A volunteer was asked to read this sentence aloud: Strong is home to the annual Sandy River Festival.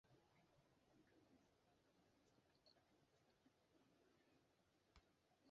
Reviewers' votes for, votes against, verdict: 0, 2, rejected